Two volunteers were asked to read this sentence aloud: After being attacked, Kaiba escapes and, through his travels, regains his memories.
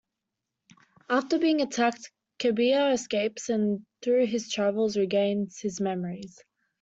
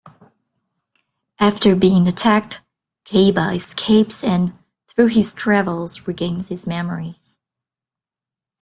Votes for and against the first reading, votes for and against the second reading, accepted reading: 0, 2, 2, 0, second